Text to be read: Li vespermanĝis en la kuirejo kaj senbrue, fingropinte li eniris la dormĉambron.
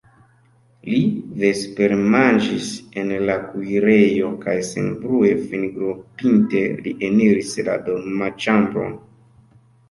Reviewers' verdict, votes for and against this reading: rejected, 1, 2